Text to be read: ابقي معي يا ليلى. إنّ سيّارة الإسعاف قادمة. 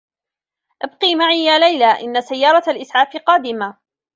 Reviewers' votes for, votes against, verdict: 1, 2, rejected